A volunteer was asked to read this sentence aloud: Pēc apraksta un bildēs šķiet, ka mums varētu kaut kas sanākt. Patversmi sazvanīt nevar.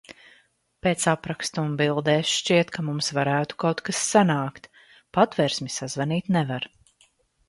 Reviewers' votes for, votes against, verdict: 2, 0, accepted